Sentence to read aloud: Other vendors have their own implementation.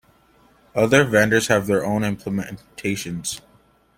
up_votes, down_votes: 2, 1